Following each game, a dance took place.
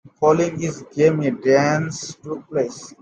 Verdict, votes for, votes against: rejected, 1, 2